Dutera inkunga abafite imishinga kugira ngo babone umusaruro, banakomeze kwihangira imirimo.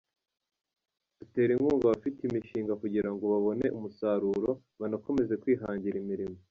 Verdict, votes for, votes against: rejected, 1, 2